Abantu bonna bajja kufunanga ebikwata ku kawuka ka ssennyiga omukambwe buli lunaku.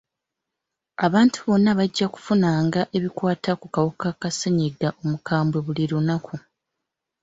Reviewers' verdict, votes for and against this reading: accepted, 2, 1